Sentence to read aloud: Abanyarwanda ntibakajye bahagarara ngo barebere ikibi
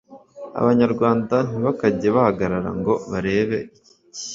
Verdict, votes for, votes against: rejected, 1, 2